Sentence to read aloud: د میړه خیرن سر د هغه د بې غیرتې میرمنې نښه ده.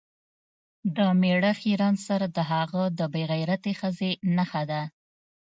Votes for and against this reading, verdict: 0, 2, rejected